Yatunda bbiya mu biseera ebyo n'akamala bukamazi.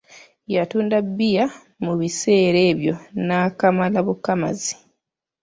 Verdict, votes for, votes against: accepted, 2, 0